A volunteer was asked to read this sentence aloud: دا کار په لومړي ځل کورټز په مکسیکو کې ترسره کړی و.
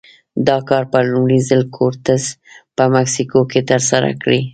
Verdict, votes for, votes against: rejected, 0, 2